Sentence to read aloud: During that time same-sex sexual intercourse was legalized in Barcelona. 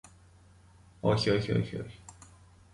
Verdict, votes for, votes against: rejected, 0, 2